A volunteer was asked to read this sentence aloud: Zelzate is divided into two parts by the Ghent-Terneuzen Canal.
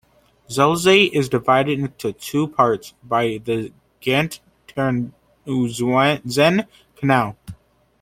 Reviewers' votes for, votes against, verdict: 1, 2, rejected